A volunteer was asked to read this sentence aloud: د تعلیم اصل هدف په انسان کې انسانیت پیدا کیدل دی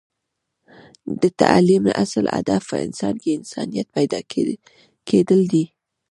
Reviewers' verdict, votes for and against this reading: rejected, 0, 2